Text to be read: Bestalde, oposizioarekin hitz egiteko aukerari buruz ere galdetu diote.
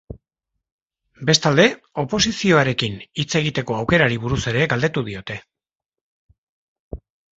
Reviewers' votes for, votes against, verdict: 2, 0, accepted